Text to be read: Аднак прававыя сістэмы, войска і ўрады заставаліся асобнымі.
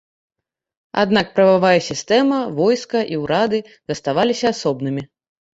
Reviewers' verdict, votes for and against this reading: rejected, 0, 2